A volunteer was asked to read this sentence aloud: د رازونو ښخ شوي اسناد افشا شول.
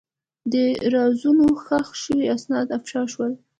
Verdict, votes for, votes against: accepted, 2, 0